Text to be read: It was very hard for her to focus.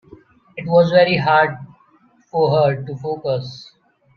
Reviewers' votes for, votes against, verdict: 2, 0, accepted